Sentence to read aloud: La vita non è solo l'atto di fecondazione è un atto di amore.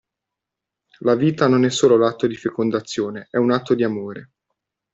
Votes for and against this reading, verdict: 2, 0, accepted